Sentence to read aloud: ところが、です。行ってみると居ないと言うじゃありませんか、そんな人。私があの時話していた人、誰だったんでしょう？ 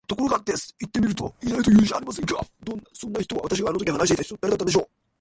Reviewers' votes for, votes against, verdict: 1, 2, rejected